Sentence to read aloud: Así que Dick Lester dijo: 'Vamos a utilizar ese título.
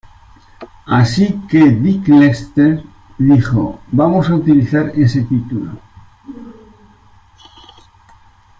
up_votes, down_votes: 1, 2